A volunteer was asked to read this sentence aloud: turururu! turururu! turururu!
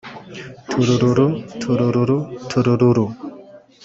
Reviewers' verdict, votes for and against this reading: accepted, 2, 1